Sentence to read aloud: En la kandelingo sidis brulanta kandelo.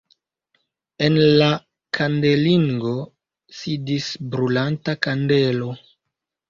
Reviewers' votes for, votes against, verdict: 2, 1, accepted